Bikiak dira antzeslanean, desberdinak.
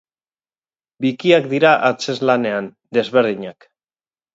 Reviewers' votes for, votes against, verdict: 2, 2, rejected